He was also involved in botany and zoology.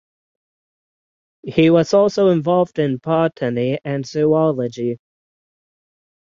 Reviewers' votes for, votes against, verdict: 3, 6, rejected